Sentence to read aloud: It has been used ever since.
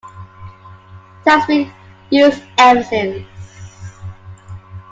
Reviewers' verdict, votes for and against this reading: rejected, 1, 2